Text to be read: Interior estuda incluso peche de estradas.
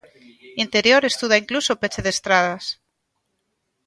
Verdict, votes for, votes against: accepted, 2, 0